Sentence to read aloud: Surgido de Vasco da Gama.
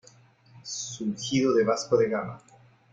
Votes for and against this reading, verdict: 1, 2, rejected